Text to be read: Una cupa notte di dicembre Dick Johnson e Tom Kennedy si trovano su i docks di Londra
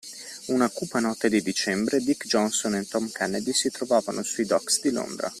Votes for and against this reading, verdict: 2, 0, accepted